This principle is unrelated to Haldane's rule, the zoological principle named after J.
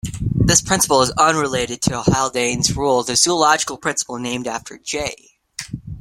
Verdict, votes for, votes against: rejected, 0, 2